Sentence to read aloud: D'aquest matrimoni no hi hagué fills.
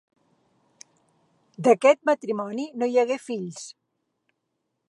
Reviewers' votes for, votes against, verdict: 4, 0, accepted